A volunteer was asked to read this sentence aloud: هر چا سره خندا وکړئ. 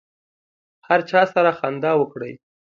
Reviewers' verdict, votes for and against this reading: accepted, 2, 0